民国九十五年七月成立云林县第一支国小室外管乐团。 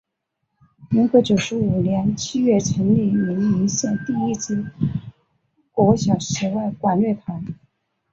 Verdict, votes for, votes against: accepted, 4, 0